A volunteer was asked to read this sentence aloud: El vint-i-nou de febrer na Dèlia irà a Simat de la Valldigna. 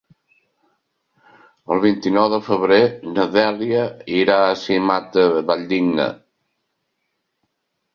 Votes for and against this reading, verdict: 0, 2, rejected